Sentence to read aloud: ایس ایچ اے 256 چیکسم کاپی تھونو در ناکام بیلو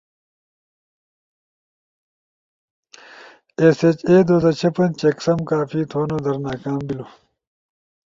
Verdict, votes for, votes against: rejected, 0, 2